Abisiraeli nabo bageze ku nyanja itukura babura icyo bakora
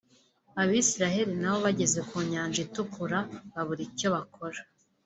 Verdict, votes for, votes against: accepted, 2, 0